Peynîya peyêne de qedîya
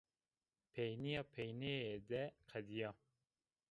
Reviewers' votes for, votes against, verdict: 0, 2, rejected